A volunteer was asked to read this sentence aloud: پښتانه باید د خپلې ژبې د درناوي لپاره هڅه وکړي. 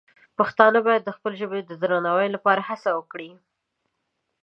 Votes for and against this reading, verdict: 2, 0, accepted